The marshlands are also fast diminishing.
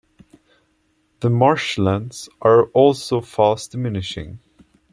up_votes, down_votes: 1, 2